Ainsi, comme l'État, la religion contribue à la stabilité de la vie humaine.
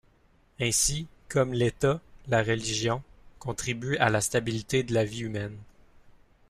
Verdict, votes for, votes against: accepted, 2, 1